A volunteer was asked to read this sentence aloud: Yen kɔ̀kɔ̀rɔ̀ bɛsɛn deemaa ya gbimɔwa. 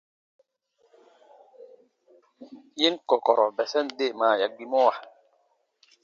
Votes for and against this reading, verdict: 2, 1, accepted